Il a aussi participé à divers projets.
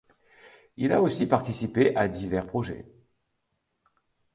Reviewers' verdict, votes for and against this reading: accepted, 2, 0